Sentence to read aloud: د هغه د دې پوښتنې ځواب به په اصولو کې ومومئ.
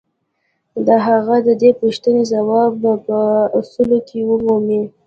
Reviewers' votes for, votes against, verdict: 0, 2, rejected